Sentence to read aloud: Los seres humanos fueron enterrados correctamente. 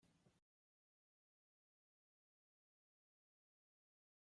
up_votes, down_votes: 0, 2